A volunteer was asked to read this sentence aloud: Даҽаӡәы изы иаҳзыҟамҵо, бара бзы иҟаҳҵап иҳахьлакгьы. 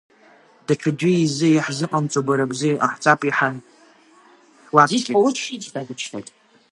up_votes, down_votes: 0, 4